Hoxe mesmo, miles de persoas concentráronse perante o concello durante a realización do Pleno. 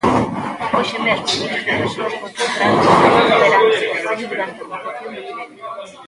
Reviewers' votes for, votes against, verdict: 0, 2, rejected